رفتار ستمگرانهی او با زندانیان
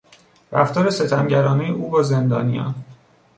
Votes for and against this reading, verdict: 3, 0, accepted